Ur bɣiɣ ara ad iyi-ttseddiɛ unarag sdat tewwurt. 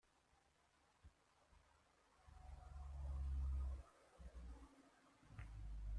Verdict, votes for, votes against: rejected, 0, 2